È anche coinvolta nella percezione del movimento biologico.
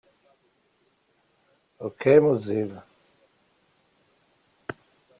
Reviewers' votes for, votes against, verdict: 0, 2, rejected